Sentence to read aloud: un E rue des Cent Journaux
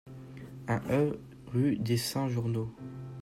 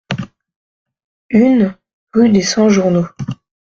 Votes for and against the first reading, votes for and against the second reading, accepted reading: 2, 0, 0, 2, first